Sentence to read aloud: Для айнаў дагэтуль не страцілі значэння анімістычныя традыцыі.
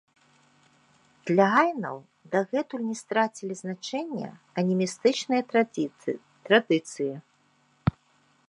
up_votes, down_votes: 0, 2